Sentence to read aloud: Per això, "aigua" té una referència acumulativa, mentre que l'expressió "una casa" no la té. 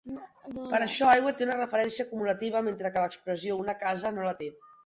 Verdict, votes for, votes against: accepted, 2, 0